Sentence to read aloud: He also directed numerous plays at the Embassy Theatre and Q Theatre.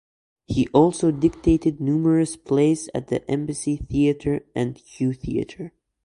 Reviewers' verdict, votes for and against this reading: rejected, 0, 2